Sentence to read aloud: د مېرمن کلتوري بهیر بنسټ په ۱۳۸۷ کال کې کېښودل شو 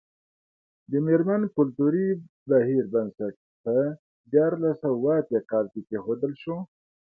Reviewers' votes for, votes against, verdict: 0, 2, rejected